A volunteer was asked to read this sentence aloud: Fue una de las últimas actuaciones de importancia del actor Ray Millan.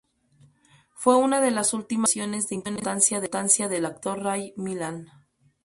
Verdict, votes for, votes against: rejected, 2, 2